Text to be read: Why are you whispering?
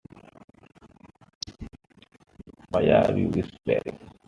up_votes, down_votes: 2, 1